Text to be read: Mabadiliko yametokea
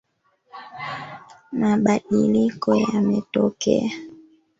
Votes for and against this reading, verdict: 1, 2, rejected